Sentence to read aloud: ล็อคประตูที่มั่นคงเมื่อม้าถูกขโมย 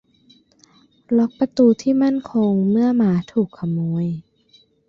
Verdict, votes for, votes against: rejected, 1, 2